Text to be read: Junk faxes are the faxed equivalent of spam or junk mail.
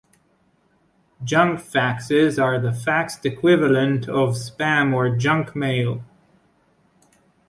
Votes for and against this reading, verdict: 2, 0, accepted